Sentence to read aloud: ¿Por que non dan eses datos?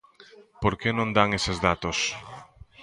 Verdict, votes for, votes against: rejected, 1, 2